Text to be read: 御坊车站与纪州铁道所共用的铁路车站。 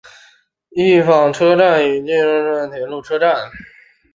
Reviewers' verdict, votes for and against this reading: accepted, 4, 2